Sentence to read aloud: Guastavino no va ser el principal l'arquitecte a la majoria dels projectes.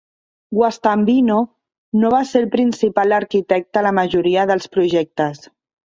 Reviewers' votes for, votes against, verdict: 1, 2, rejected